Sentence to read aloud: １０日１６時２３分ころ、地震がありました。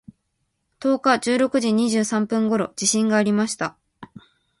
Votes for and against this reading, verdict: 0, 2, rejected